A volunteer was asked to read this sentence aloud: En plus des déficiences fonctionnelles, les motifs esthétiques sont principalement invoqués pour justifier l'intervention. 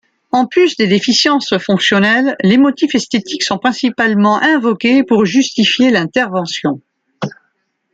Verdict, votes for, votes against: accepted, 2, 0